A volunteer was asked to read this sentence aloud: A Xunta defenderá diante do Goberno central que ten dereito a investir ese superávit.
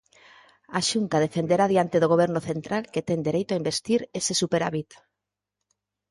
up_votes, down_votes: 4, 0